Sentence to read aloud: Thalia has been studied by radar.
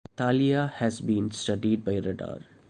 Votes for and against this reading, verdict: 2, 0, accepted